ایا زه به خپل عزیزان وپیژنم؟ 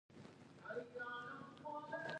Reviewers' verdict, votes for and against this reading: rejected, 1, 2